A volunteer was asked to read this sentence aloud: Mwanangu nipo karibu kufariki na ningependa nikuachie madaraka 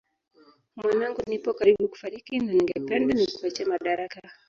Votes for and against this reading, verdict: 0, 2, rejected